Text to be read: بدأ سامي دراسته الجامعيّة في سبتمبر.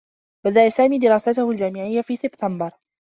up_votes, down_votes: 1, 2